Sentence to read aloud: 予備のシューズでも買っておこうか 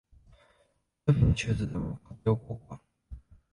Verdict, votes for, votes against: rejected, 0, 2